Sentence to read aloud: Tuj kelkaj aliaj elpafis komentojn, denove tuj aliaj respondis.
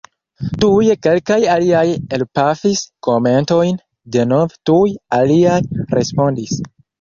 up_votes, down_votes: 1, 2